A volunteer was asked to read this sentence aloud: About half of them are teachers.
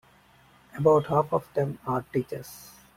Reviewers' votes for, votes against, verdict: 2, 0, accepted